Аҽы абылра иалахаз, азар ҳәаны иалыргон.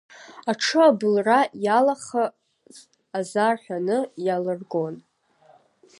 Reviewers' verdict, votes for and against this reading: rejected, 0, 2